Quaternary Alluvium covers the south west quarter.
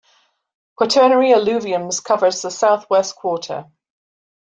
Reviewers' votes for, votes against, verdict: 1, 2, rejected